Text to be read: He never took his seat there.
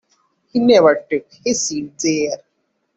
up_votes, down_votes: 1, 2